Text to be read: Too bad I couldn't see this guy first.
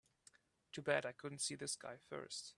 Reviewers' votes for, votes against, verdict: 2, 0, accepted